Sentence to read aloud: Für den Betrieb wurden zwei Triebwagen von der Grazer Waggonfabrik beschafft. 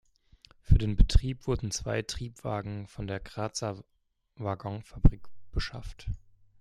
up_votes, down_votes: 1, 2